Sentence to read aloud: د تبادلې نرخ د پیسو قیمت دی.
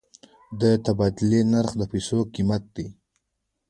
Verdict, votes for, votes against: accepted, 2, 0